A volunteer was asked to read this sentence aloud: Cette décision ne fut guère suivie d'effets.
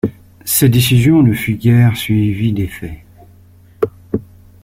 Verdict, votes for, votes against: rejected, 0, 2